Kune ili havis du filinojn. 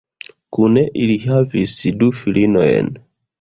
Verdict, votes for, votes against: accepted, 2, 0